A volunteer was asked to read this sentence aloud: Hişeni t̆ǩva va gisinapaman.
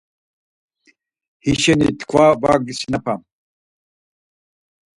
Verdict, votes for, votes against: rejected, 2, 4